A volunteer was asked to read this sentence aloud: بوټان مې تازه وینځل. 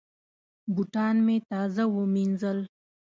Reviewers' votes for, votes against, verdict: 2, 0, accepted